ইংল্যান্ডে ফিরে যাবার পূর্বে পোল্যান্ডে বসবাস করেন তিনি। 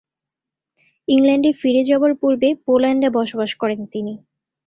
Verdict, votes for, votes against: accepted, 4, 0